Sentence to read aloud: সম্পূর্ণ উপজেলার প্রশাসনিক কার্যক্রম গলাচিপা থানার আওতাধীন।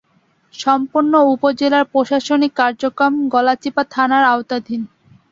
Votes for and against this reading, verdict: 8, 2, accepted